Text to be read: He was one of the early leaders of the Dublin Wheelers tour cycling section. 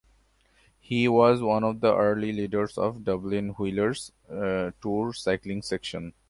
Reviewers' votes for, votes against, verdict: 1, 2, rejected